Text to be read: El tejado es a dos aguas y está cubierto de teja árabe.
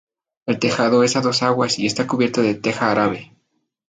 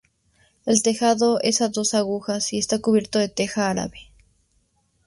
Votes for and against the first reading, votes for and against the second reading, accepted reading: 4, 0, 0, 4, first